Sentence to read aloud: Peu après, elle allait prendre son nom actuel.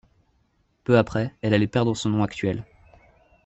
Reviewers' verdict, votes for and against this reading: rejected, 1, 2